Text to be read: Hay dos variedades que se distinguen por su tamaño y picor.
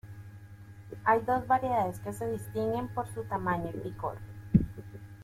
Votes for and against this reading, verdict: 2, 0, accepted